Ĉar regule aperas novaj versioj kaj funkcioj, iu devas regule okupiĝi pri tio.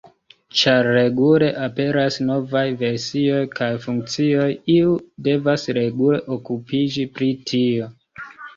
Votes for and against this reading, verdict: 1, 2, rejected